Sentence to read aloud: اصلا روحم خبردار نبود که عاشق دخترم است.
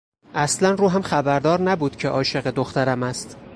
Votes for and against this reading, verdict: 4, 0, accepted